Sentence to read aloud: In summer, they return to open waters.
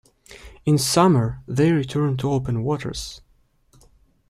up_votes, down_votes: 2, 0